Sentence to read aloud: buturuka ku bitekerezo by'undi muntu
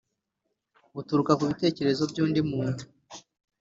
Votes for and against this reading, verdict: 2, 0, accepted